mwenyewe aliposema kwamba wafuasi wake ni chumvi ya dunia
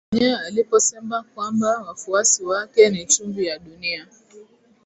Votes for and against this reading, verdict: 4, 1, accepted